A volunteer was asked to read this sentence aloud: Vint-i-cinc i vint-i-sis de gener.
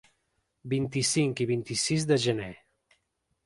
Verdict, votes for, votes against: accepted, 3, 0